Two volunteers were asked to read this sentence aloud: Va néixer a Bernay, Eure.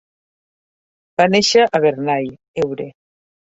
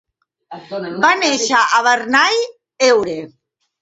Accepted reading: first